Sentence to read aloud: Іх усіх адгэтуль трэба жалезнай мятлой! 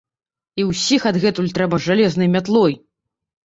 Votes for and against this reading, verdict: 1, 2, rejected